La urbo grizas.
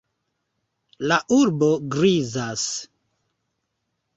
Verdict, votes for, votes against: accepted, 2, 1